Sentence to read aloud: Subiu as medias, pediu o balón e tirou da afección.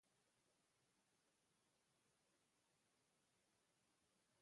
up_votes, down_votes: 0, 2